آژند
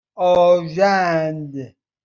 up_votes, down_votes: 2, 0